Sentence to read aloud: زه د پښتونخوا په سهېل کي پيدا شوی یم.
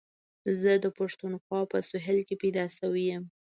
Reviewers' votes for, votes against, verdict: 2, 1, accepted